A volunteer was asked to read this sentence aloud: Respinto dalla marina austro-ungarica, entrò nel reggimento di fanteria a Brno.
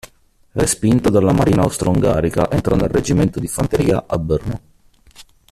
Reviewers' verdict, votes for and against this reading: rejected, 0, 2